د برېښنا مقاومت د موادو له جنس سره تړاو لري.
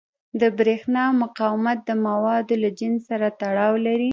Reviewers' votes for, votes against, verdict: 1, 2, rejected